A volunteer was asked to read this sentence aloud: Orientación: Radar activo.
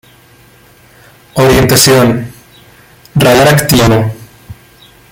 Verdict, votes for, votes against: rejected, 0, 3